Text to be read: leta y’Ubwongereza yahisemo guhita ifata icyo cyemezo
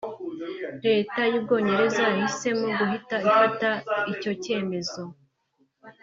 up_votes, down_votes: 1, 2